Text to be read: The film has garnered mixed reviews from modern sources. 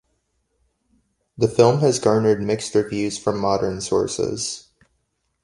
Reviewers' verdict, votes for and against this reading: accepted, 2, 0